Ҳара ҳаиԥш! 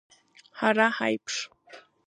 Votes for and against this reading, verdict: 3, 1, accepted